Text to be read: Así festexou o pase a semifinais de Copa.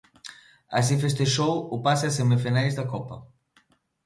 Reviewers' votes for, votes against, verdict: 1, 2, rejected